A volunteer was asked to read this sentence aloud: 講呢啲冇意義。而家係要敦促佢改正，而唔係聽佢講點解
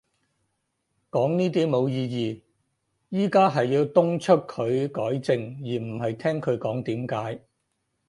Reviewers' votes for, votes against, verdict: 4, 4, rejected